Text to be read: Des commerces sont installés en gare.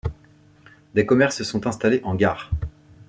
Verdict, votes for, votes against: accepted, 2, 1